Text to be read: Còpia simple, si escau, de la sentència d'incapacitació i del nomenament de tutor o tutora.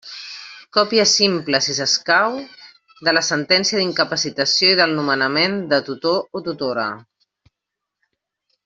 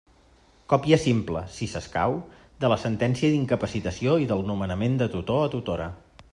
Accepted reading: first